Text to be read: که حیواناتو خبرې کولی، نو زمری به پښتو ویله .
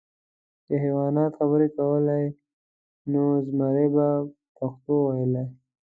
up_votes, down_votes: 2, 1